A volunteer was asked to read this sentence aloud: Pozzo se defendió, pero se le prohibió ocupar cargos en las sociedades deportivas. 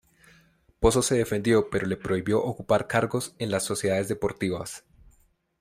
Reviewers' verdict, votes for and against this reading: accepted, 2, 1